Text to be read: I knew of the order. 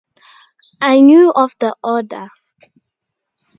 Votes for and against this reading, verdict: 2, 0, accepted